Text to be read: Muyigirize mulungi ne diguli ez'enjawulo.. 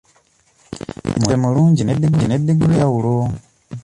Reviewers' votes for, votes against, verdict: 0, 2, rejected